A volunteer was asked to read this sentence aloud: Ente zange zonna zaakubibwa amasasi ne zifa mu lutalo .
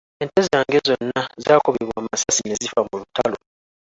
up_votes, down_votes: 2, 1